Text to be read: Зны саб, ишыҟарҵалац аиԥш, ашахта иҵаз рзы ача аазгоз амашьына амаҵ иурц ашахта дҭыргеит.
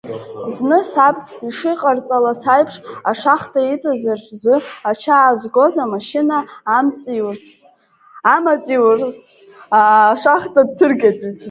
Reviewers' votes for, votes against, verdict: 1, 3, rejected